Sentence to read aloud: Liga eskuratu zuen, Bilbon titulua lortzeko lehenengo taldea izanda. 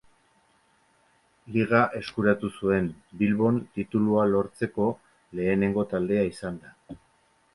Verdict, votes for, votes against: accepted, 2, 0